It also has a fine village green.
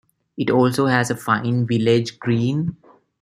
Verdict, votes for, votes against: accepted, 2, 0